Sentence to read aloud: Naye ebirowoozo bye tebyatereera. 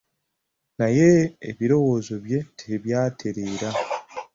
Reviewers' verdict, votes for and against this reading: accepted, 2, 1